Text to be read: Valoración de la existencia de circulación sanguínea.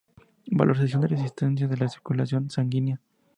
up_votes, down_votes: 2, 0